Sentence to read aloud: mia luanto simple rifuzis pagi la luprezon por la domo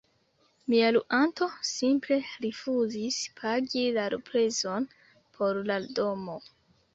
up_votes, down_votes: 2, 1